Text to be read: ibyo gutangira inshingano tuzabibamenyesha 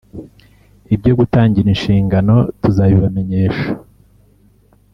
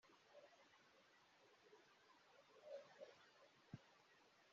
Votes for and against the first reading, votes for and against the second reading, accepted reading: 2, 0, 0, 2, first